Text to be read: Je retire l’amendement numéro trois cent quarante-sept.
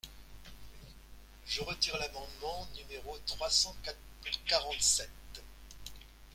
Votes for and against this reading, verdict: 1, 2, rejected